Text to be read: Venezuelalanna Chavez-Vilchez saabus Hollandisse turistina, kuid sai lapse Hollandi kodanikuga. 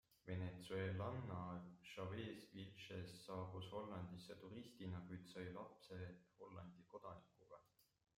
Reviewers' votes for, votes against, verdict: 0, 2, rejected